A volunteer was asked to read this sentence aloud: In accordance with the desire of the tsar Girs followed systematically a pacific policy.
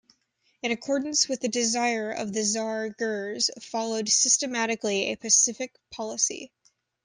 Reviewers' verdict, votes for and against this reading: accepted, 2, 0